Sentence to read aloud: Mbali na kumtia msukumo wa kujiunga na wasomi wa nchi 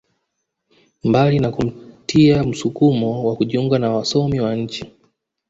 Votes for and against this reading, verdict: 2, 0, accepted